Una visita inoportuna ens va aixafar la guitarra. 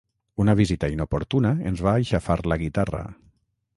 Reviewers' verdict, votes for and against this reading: accepted, 6, 0